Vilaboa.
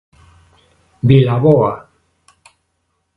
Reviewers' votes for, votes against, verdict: 2, 0, accepted